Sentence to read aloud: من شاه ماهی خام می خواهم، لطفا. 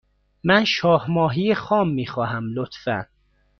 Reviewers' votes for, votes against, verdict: 2, 0, accepted